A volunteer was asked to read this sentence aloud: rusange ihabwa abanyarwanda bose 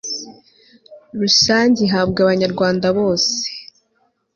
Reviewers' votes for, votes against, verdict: 2, 0, accepted